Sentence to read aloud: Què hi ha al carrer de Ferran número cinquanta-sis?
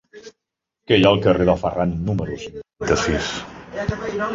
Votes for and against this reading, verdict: 0, 2, rejected